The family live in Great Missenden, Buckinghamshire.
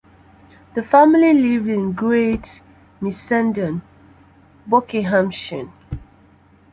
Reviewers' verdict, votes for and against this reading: rejected, 0, 2